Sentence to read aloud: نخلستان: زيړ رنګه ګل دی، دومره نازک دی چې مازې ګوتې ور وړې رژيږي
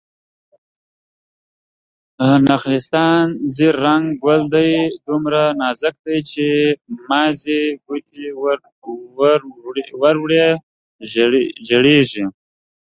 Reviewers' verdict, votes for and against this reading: rejected, 0, 2